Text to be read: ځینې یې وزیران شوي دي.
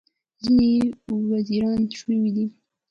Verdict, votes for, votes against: rejected, 1, 2